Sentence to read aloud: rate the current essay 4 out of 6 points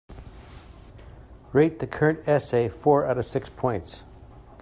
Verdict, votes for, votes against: rejected, 0, 2